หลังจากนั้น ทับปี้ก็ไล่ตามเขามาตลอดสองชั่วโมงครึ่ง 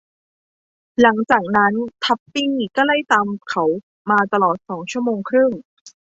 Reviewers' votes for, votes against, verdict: 2, 0, accepted